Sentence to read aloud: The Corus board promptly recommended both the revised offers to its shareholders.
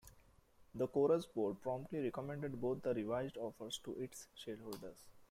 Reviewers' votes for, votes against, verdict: 2, 0, accepted